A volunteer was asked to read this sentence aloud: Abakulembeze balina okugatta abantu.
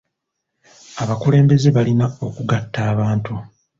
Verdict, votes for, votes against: accepted, 3, 0